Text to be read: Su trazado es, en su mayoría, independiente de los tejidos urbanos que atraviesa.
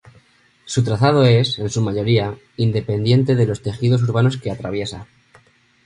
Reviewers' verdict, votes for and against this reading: accepted, 2, 0